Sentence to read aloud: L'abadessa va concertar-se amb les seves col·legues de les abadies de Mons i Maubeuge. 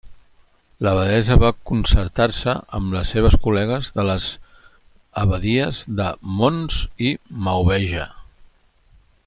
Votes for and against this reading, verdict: 2, 0, accepted